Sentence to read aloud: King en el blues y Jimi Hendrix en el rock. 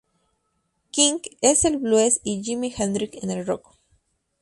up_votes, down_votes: 2, 2